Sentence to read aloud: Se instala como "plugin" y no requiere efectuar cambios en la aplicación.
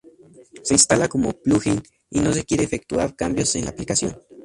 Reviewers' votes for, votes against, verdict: 0, 4, rejected